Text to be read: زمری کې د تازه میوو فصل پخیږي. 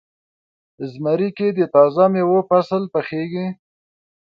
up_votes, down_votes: 4, 0